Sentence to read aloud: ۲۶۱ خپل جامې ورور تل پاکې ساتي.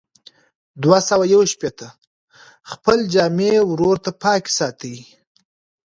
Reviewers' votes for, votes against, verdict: 0, 2, rejected